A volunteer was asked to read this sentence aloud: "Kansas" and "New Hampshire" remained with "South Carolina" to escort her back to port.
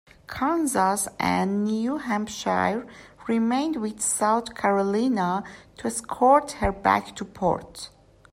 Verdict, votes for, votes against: accepted, 2, 1